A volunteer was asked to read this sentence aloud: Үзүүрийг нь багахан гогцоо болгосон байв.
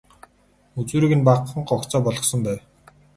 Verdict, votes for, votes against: accepted, 2, 0